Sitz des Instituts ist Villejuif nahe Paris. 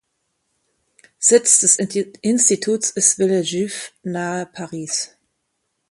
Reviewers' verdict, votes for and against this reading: rejected, 0, 2